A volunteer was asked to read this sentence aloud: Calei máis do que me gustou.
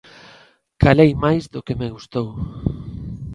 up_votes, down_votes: 2, 0